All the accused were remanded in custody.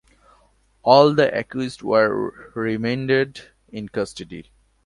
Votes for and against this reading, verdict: 2, 0, accepted